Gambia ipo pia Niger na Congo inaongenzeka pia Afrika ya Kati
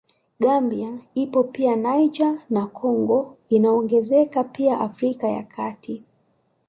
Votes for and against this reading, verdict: 1, 2, rejected